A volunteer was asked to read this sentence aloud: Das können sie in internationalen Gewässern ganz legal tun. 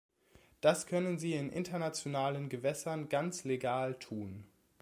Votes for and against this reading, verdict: 2, 0, accepted